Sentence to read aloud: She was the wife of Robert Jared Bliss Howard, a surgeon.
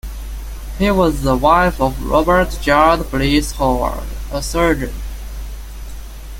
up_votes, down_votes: 0, 2